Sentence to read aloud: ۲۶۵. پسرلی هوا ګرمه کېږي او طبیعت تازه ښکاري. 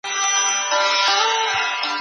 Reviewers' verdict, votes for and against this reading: rejected, 0, 2